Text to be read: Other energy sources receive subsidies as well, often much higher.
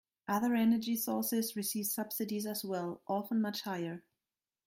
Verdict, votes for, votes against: accepted, 2, 0